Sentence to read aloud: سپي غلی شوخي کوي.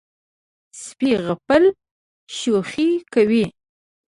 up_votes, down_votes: 0, 2